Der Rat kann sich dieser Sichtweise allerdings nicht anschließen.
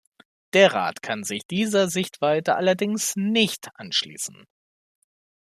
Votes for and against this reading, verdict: 1, 2, rejected